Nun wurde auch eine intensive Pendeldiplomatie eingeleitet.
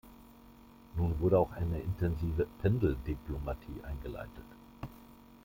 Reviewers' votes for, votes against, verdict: 2, 1, accepted